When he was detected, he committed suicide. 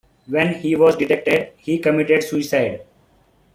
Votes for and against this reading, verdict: 2, 1, accepted